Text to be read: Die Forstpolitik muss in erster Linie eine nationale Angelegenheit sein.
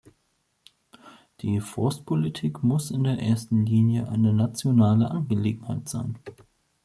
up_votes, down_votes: 0, 2